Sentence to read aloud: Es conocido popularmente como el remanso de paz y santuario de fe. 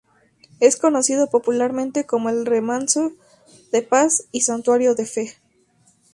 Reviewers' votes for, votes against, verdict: 2, 0, accepted